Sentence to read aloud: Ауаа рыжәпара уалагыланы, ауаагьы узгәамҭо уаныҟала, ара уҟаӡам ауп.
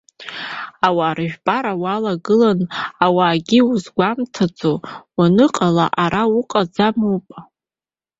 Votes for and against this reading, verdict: 2, 1, accepted